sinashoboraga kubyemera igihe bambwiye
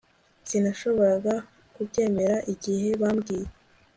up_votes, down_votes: 2, 0